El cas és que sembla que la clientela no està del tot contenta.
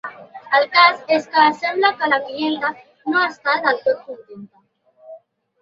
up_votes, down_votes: 1, 2